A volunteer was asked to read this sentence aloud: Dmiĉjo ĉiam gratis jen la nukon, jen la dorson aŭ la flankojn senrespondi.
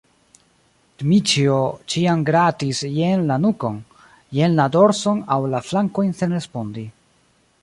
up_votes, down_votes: 1, 2